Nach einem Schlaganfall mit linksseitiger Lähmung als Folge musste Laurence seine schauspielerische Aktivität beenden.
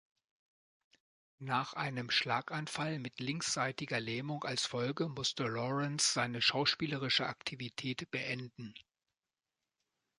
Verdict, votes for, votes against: accepted, 2, 0